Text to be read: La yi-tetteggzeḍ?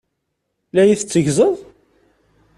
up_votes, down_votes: 2, 0